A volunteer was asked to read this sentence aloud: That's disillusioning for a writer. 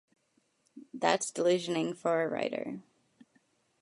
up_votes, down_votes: 1, 2